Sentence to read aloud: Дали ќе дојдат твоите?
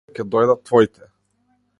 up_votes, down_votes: 0, 2